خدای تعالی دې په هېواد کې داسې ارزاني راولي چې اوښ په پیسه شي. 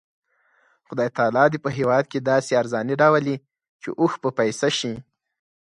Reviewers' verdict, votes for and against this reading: accepted, 4, 0